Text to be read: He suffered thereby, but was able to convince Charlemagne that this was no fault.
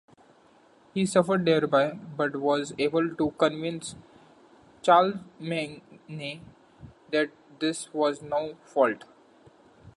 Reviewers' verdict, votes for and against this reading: rejected, 1, 2